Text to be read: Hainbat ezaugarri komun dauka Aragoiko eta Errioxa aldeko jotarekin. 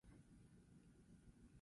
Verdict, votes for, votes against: rejected, 0, 4